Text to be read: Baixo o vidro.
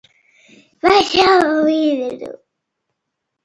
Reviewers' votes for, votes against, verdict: 0, 2, rejected